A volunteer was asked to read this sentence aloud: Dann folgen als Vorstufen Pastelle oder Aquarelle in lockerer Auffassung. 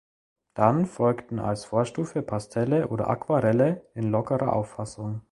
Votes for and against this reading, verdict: 0, 3, rejected